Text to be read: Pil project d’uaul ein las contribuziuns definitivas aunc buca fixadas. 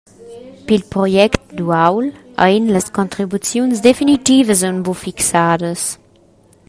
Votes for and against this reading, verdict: 0, 2, rejected